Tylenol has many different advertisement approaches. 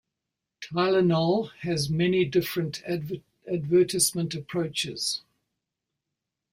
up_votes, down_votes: 0, 2